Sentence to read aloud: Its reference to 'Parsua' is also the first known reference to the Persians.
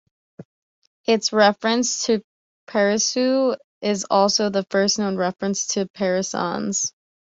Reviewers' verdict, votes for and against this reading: rejected, 1, 2